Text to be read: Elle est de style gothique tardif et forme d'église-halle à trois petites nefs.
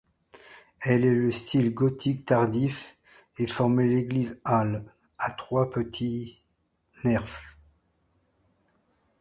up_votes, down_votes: 1, 2